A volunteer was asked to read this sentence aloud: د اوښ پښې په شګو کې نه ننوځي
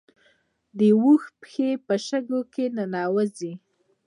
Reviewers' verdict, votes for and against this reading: rejected, 0, 2